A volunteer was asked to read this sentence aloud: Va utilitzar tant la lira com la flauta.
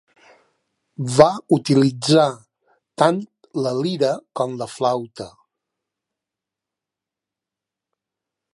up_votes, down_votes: 2, 0